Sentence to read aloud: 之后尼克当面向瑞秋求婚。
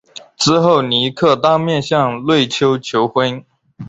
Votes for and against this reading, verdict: 4, 0, accepted